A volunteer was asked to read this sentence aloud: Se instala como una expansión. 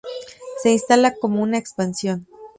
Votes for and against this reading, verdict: 2, 0, accepted